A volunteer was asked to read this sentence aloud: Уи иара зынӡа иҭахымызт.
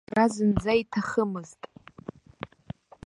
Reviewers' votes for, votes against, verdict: 0, 2, rejected